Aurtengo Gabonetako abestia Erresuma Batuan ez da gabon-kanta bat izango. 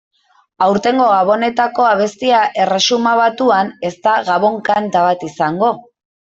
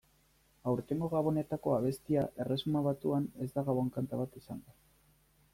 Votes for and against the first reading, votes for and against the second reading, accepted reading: 1, 6, 2, 0, second